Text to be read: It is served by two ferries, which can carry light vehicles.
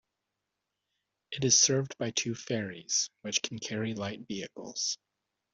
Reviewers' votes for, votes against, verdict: 2, 0, accepted